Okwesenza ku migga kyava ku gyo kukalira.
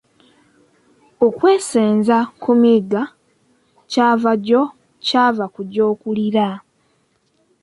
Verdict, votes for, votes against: rejected, 2, 3